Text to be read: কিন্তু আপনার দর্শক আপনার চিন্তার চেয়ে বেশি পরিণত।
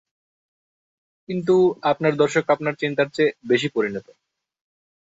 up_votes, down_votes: 2, 0